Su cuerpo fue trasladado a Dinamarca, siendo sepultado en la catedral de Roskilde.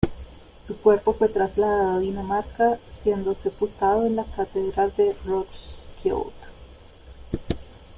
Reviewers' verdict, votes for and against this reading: rejected, 0, 2